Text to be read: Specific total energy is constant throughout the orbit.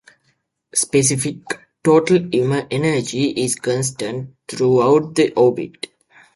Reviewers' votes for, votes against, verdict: 2, 0, accepted